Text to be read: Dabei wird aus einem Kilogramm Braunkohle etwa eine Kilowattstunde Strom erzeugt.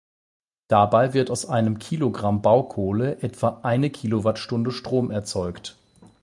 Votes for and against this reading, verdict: 4, 8, rejected